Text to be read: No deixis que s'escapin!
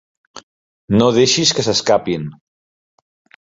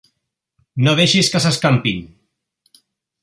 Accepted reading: first